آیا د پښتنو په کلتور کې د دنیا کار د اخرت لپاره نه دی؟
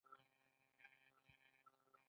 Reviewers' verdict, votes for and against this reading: rejected, 0, 2